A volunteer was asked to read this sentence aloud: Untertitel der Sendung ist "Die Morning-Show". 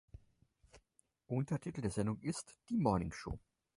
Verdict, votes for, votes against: accepted, 4, 0